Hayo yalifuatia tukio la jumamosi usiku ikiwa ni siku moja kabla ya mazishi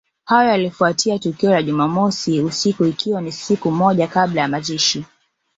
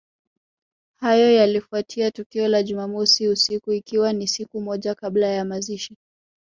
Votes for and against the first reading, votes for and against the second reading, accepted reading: 1, 2, 2, 0, second